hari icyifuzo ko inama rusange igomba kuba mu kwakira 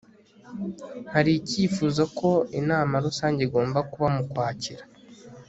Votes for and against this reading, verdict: 2, 0, accepted